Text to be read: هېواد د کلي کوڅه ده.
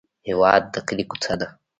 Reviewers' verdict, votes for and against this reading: rejected, 1, 2